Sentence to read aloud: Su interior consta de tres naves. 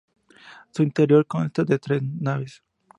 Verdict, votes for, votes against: rejected, 0, 2